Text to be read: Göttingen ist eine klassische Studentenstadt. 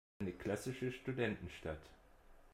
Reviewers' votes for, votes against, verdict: 0, 2, rejected